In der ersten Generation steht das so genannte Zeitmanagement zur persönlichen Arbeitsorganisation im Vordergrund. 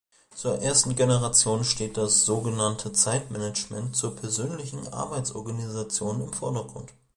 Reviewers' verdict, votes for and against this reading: rejected, 0, 2